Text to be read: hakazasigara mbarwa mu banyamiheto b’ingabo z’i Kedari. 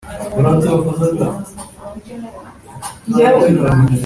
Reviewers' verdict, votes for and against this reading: rejected, 0, 2